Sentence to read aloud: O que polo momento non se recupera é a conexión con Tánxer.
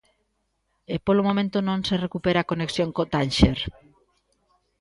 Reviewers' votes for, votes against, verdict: 0, 2, rejected